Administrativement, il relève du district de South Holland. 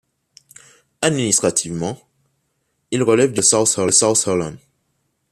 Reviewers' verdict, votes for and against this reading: rejected, 1, 2